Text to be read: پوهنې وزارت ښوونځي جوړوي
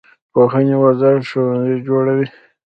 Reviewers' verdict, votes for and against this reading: rejected, 0, 2